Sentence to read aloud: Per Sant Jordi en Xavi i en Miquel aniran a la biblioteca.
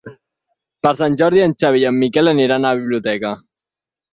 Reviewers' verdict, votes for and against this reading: accepted, 4, 2